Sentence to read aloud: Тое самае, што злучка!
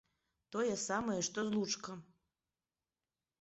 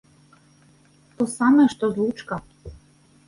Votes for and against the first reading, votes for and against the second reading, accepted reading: 3, 1, 1, 2, first